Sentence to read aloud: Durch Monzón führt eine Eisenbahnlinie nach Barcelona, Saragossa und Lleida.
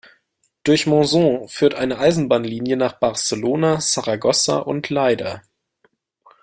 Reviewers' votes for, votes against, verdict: 1, 2, rejected